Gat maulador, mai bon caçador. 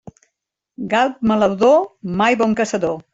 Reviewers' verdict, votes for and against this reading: rejected, 1, 2